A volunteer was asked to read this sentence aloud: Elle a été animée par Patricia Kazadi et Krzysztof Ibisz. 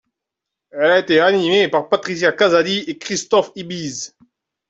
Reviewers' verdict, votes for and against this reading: rejected, 0, 2